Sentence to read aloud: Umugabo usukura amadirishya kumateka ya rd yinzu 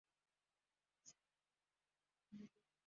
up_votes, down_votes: 0, 2